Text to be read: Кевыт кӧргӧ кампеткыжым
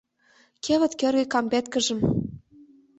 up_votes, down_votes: 2, 0